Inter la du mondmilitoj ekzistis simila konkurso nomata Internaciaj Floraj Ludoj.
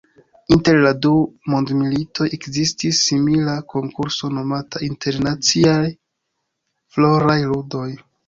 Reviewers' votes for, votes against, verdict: 3, 4, rejected